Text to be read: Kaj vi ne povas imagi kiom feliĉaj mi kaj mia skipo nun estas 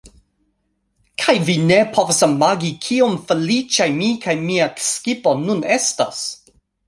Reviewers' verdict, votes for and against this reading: accepted, 2, 0